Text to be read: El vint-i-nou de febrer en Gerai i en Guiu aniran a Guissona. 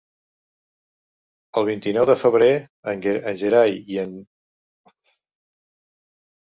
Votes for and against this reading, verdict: 0, 2, rejected